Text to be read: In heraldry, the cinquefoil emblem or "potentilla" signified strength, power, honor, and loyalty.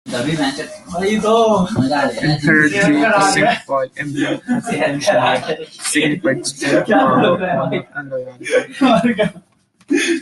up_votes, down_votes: 0, 2